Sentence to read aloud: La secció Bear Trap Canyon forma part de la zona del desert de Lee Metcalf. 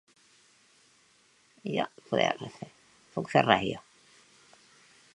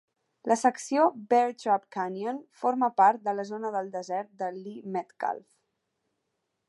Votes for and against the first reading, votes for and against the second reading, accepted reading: 0, 3, 2, 1, second